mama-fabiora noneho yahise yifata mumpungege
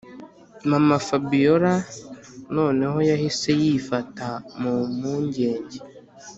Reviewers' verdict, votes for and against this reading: accepted, 2, 0